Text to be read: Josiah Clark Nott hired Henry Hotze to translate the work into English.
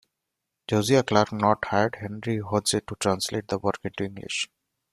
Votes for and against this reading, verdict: 0, 2, rejected